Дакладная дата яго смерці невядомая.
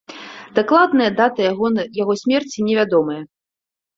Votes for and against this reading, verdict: 1, 2, rejected